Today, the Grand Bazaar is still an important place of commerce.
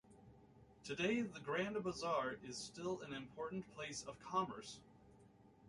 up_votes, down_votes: 2, 0